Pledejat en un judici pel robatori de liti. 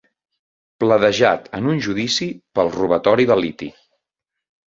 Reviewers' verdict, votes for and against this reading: accepted, 3, 0